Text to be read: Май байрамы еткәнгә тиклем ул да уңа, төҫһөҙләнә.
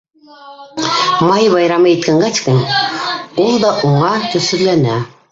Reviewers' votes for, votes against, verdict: 0, 2, rejected